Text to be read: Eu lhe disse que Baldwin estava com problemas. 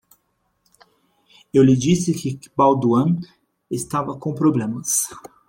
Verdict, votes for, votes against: rejected, 1, 2